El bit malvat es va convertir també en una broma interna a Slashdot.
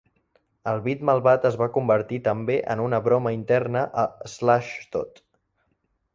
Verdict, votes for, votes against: accepted, 2, 0